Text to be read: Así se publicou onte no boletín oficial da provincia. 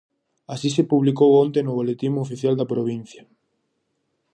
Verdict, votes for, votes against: accepted, 4, 0